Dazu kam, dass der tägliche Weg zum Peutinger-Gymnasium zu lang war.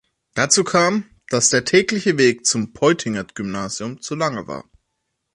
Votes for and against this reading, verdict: 0, 2, rejected